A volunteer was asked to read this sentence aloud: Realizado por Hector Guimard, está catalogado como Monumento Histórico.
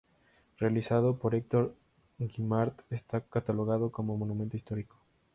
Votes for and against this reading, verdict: 2, 0, accepted